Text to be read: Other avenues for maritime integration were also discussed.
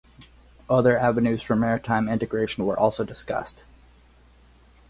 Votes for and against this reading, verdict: 4, 0, accepted